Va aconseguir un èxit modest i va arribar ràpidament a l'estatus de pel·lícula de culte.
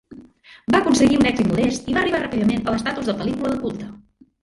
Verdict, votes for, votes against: rejected, 0, 2